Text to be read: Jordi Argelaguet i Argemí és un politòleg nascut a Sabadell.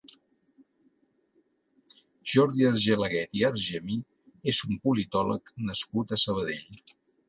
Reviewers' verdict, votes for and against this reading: accepted, 3, 0